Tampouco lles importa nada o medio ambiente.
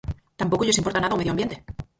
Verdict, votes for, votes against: rejected, 0, 4